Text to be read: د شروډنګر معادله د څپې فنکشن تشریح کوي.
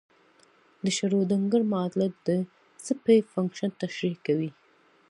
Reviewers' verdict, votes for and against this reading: accepted, 2, 0